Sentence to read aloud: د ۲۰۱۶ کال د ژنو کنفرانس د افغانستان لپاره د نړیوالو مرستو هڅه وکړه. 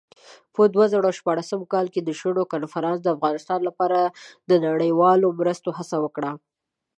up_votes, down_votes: 0, 2